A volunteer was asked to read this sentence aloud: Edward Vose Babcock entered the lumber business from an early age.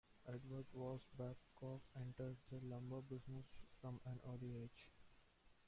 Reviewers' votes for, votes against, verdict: 0, 2, rejected